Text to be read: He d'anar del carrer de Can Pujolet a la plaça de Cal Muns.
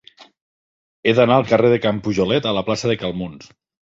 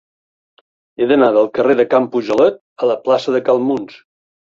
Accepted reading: second